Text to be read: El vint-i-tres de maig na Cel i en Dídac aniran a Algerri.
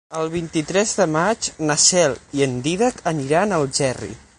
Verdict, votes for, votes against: accepted, 9, 0